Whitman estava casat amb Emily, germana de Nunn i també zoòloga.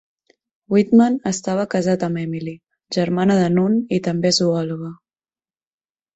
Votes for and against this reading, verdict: 2, 0, accepted